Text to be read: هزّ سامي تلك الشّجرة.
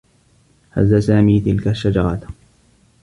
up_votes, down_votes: 3, 0